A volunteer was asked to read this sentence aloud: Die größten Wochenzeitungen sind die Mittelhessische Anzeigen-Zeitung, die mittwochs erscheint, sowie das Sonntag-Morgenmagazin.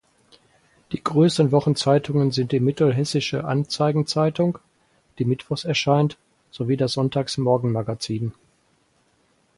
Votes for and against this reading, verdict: 0, 4, rejected